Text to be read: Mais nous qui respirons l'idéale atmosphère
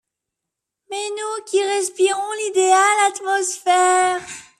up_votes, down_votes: 2, 0